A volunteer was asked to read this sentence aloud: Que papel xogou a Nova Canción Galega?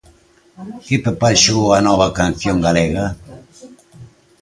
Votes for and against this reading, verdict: 0, 2, rejected